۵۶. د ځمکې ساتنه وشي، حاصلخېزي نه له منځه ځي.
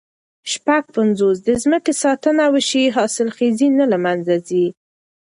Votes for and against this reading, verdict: 0, 2, rejected